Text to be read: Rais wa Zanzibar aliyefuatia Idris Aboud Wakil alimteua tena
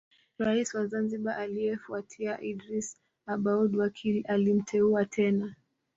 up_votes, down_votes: 2, 0